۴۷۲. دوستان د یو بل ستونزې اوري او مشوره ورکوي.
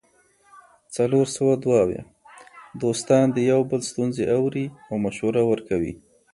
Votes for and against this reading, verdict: 0, 2, rejected